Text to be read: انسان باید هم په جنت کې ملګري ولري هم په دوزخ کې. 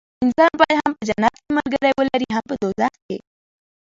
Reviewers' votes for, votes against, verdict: 1, 2, rejected